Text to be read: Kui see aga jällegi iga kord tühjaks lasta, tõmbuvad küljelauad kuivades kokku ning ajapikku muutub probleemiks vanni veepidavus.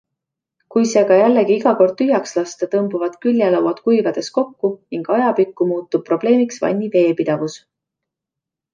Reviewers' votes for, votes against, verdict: 2, 0, accepted